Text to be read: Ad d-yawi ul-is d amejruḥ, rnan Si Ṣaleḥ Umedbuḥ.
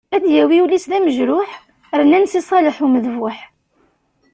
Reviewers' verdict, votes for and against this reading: accepted, 2, 0